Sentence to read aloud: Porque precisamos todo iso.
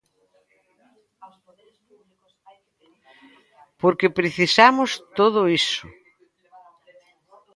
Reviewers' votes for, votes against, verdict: 1, 2, rejected